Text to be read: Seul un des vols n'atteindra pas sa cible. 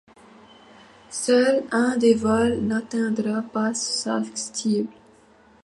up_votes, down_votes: 0, 2